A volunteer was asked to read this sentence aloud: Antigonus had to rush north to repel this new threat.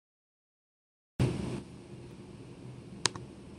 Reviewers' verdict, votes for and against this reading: rejected, 0, 2